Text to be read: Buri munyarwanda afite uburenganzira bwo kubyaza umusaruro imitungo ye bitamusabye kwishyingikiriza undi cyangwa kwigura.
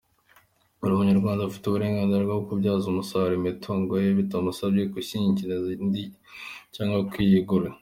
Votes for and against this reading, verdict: 2, 1, accepted